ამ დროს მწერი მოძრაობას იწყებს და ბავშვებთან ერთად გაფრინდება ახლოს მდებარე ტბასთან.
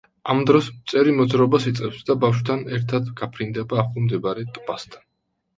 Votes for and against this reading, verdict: 0, 2, rejected